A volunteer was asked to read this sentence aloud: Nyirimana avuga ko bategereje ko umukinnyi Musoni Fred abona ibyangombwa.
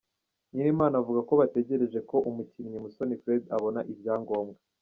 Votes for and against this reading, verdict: 2, 0, accepted